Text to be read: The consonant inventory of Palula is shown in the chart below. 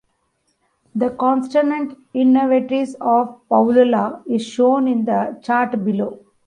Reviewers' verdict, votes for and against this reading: rejected, 0, 2